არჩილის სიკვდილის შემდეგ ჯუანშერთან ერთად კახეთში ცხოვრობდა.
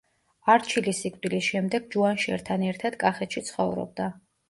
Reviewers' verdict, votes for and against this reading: accepted, 2, 0